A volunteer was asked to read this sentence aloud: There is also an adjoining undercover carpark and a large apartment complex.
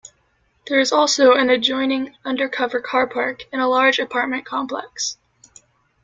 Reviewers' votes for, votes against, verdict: 2, 0, accepted